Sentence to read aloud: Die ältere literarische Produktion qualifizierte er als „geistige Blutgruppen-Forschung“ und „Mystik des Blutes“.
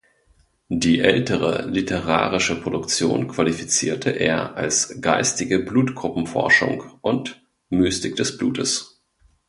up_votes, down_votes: 2, 0